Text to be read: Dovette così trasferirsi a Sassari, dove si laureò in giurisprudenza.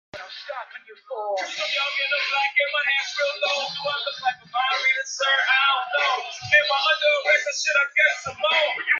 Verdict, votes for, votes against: rejected, 0, 2